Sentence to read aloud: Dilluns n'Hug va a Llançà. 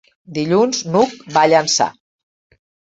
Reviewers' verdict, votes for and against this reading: accepted, 3, 0